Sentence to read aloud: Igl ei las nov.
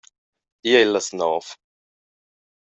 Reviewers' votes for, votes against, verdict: 2, 0, accepted